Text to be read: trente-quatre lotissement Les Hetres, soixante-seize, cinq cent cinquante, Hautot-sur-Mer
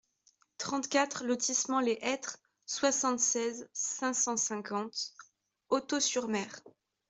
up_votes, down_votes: 2, 0